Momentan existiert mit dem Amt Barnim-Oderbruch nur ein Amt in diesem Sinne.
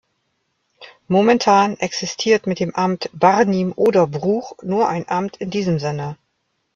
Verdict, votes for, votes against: rejected, 1, 2